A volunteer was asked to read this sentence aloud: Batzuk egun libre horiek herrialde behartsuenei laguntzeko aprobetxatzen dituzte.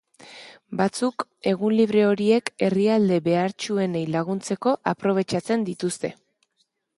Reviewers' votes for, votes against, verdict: 2, 0, accepted